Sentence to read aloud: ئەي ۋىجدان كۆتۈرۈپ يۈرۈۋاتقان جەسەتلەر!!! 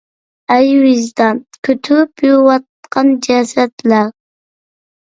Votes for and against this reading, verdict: 1, 2, rejected